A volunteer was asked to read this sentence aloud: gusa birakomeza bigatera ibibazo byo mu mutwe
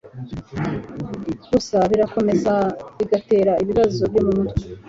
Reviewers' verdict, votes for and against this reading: accepted, 2, 0